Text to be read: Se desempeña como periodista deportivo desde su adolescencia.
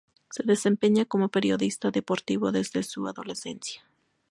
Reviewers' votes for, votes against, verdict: 2, 0, accepted